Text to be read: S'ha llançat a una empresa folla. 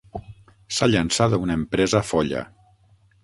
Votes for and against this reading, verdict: 0, 6, rejected